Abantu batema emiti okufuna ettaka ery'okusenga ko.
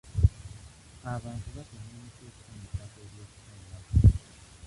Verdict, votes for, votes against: rejected, 1, 2